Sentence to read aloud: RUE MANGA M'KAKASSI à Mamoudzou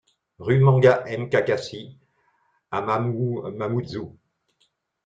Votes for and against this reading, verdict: 0, 2, rejected